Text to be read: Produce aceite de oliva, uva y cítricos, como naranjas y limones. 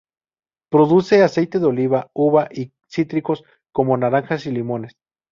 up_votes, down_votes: 4, 0